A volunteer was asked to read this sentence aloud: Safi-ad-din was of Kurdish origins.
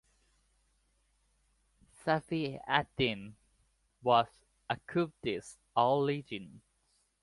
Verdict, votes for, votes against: accepted, 2, 0